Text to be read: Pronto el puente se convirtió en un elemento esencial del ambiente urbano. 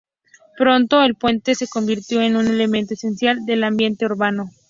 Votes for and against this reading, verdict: 2, 0, accepted